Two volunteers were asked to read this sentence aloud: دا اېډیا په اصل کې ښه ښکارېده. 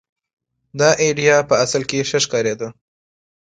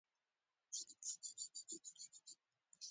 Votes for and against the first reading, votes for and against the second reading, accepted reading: 2, 0, 0, 2, first